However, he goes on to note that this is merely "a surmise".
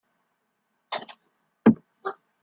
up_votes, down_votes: 0, 2